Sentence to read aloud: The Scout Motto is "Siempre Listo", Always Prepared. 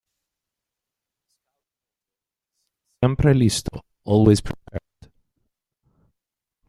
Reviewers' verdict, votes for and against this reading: rejected, 1, 2